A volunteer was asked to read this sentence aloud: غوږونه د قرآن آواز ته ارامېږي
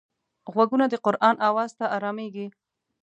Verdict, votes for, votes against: accepted, 2, 0